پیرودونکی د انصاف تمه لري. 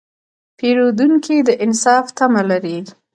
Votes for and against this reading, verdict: 2, 0, accepted